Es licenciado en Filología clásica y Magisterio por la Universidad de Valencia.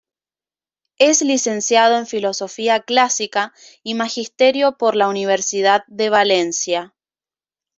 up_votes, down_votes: 1, 2